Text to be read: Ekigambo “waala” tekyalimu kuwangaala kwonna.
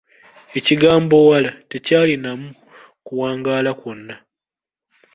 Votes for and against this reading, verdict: 0, 2, rejected